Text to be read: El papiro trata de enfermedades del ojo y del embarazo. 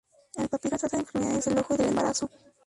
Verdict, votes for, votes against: rejected, 2, 2